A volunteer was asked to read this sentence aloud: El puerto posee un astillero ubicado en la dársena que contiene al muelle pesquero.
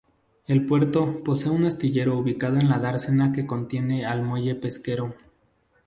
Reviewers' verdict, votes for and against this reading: accepted, 2, 0